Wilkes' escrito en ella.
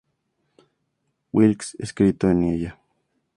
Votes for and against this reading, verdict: 2, 0, accepted